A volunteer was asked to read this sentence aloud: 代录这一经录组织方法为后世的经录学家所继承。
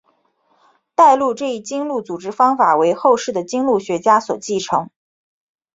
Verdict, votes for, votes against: accepted, 2, 1